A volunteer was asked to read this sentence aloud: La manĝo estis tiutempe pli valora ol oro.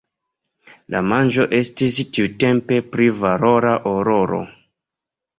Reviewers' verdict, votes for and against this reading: accepted, 2, 1